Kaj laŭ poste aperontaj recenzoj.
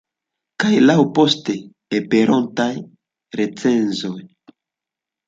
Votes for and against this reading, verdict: 1, 2, rejected